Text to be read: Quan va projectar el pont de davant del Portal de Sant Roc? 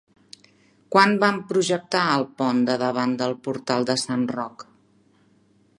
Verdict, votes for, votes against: rejected, 0, 2